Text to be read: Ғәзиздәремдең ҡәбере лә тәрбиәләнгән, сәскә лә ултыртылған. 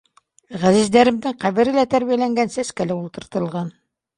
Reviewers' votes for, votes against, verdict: 2, 0, accepted